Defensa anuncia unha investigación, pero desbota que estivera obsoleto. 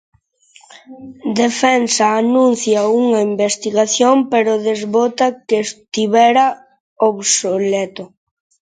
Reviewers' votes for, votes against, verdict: 2, 1, accepted